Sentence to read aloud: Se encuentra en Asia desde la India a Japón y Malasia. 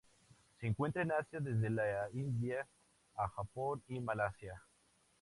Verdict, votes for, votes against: accepted, 2, 0